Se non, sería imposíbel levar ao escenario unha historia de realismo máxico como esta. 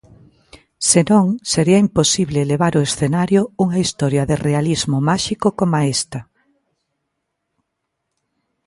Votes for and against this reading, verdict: 0, 3, rejected